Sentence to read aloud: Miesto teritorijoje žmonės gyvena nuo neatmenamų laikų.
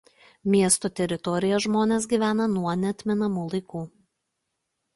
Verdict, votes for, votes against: accepted, 2, 1